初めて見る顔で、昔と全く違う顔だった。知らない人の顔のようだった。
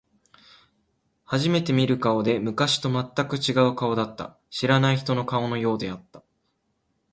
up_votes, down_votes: 0, 2